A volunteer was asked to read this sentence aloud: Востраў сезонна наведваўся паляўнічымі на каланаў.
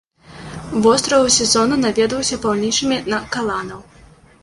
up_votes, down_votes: 0, 2